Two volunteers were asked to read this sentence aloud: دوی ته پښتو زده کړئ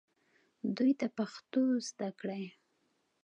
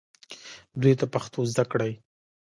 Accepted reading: first